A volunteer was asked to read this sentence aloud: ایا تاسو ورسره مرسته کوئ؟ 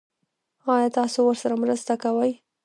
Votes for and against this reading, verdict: 1, 2, rejected